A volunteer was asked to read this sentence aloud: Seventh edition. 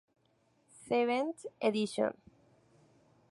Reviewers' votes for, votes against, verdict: 2, 0, accepted